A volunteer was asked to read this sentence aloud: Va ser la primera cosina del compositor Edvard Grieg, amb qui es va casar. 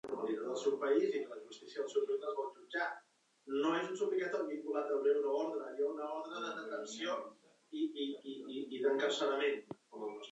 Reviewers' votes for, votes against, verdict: 0, 2, rejected